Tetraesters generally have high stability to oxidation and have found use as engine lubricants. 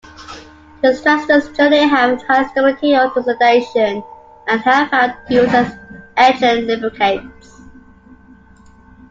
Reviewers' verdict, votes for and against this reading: accepted, 2, 1